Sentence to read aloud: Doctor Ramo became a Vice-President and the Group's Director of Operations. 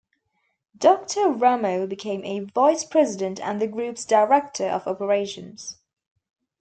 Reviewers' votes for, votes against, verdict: 2, 0, accepted